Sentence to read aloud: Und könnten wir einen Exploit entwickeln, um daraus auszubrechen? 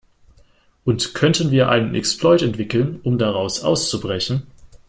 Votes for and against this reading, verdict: 2, 0, accepted